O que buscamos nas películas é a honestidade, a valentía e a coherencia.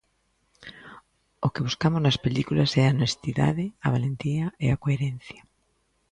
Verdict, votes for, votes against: accepted, 2, 0